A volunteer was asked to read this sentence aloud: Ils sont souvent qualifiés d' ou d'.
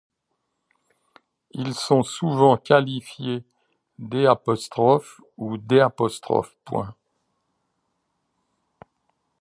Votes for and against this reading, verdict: 1, 2, rejected